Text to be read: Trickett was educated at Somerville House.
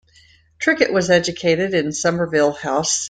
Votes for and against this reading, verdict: 0, 2, rejected